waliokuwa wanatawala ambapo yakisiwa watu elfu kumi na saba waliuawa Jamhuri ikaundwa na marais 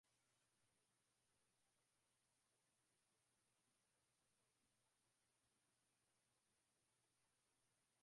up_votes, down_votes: 0, 2